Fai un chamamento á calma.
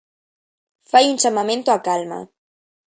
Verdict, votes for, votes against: accepted, 2, 0